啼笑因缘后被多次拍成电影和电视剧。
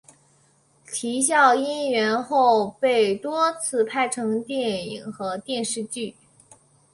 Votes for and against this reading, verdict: 3, 1, accepted